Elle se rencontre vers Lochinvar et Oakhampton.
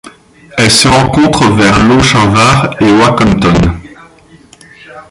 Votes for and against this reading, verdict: 2, 0, accepted